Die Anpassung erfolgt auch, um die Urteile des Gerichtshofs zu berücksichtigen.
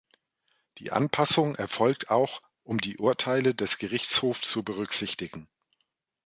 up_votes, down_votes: 2, 0